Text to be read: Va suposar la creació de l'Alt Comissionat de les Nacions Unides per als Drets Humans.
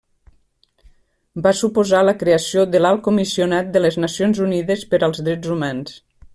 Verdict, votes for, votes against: accepted, 2, 0